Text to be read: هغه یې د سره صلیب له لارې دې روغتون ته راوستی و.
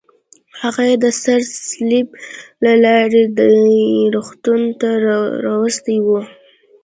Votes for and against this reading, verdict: 2, 0, accepted